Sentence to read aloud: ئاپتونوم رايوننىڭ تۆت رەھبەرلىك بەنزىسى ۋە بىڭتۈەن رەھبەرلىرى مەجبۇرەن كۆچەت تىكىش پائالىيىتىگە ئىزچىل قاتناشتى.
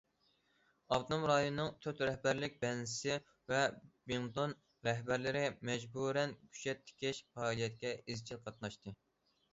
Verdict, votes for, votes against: rejected, 0, 2